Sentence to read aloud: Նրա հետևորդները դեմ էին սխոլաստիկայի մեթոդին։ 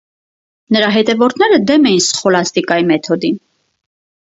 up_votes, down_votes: 4, 0